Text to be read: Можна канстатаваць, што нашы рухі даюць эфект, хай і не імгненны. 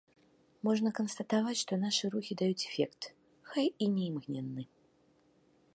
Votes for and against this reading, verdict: 2, 0, accepted